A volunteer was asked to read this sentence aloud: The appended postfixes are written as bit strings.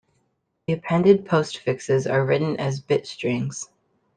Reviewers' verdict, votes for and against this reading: accepted, 2, 1